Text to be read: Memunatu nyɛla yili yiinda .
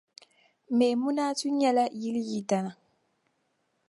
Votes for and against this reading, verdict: 0, 2, rejected